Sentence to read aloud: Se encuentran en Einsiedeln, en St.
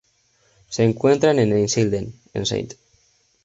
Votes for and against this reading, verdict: 0, 2, rejected